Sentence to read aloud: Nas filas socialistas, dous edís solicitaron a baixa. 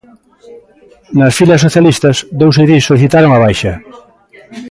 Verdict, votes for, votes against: accepted, 2, 0